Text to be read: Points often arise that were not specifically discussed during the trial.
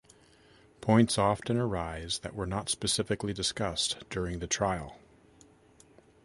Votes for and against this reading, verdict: 2, 0, accepted